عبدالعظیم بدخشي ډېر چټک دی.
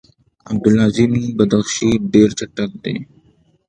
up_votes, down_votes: 2, 0